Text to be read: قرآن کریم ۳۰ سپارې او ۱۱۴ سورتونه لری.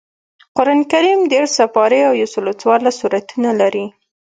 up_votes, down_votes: 0, 2